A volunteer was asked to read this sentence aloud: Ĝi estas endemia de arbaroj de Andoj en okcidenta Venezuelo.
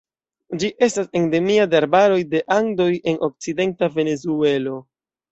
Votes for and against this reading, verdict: 1, 2, rejected